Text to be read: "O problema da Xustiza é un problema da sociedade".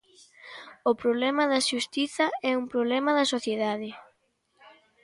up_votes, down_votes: 2, 0